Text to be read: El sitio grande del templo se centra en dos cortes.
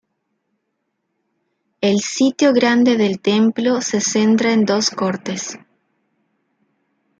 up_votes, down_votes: 2, 0